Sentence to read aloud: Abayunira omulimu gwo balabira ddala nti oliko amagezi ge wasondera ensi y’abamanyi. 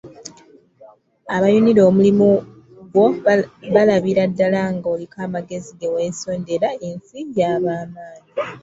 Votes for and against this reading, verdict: 1, 2, rejected